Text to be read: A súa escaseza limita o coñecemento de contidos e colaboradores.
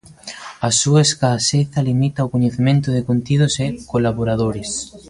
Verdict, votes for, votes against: rejected, 0, 2